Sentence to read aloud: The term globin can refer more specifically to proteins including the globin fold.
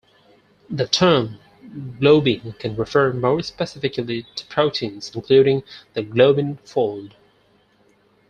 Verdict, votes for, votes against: accepted, 4, 0